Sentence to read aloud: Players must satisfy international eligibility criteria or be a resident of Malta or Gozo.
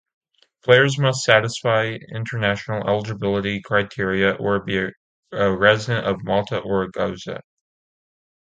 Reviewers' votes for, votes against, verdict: 2, 0, accepted